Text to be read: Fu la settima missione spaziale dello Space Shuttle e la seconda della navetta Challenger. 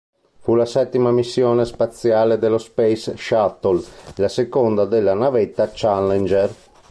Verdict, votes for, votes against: rejected, 0, 2